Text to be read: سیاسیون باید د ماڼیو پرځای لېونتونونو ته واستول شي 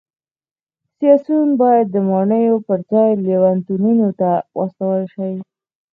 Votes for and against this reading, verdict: 4, 0, accepted